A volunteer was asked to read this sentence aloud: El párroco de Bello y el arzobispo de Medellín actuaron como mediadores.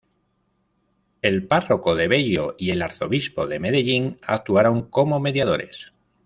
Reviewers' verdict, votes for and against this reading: accepted, 2, 0